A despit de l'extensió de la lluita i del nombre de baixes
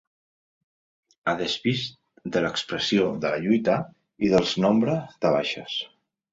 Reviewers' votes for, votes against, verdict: 0, 2, rejected